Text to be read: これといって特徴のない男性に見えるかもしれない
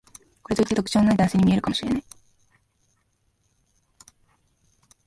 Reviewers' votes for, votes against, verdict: 1, 2, rejected